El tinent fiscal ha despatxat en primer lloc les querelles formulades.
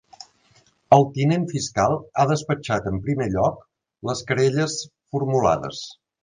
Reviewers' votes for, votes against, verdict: 2, 0, accepted